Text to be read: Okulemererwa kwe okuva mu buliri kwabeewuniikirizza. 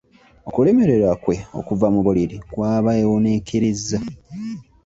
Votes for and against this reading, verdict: 2, 1, accepted